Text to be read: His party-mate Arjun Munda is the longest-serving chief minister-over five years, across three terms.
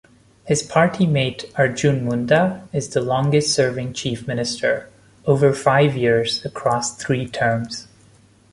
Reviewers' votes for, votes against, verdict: 2, 0, accepted